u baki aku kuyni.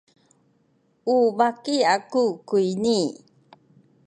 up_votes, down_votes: 2, 1